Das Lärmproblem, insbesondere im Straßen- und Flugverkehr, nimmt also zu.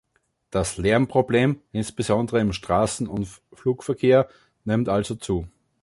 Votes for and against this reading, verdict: 1, 2, rejected